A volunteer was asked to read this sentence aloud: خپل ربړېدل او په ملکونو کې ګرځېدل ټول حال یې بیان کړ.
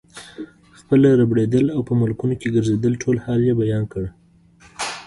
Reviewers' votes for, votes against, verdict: 2, 0, accepted